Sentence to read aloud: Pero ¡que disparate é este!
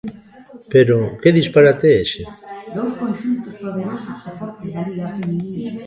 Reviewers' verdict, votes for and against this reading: rejected, 0, 2